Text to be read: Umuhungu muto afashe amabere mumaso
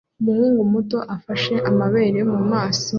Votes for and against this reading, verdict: 2, 1, accepted